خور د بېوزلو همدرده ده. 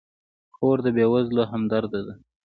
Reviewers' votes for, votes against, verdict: 1, 2, rejected